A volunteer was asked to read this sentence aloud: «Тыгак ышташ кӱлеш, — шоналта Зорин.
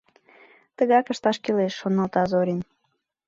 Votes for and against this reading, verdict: 2, 0, accepted